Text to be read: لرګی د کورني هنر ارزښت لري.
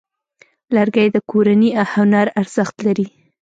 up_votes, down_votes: 2, 0